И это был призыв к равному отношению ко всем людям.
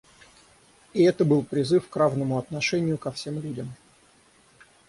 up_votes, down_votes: 6, 0